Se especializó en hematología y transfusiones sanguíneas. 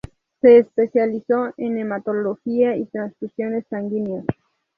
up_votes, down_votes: 0, 2